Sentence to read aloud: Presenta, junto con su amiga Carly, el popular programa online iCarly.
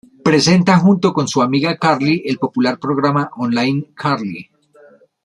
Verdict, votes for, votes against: rejected, 1, 2